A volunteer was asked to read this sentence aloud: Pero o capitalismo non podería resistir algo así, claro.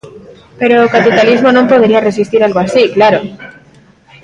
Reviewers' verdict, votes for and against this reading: rejected, 1, 3